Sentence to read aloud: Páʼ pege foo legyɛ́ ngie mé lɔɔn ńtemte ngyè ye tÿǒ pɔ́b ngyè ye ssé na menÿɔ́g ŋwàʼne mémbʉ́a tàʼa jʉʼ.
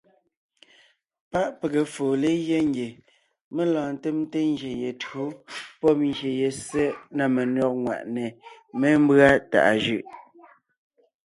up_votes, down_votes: 2, 0